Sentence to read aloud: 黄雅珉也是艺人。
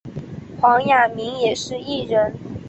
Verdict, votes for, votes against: accepted, 3, 0